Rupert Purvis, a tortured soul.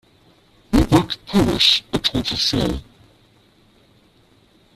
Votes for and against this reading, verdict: 0, 2, rejected